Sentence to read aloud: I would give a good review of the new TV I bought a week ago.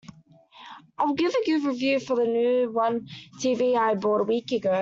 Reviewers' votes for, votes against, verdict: 0, 2, rejected